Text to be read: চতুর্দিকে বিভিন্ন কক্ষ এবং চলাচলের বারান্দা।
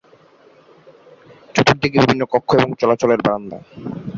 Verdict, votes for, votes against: rejected, 2, 4